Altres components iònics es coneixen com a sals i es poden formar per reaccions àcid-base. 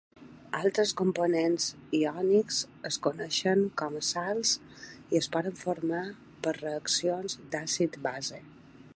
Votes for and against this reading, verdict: 0, 2, rejected